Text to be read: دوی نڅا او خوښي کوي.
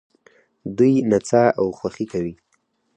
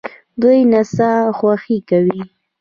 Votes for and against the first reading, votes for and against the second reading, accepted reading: 4, 0, 0, 2, first